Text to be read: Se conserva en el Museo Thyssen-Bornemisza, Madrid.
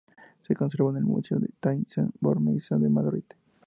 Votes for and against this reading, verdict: 0, 2, rejected